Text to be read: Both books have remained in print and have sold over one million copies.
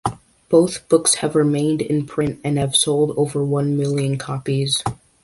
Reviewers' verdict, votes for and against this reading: accepted, 2, 0